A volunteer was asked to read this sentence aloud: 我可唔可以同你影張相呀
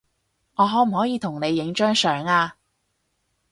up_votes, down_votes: 2, 0